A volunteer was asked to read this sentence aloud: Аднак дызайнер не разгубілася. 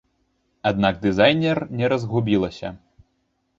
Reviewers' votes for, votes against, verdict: 2, 0, accepted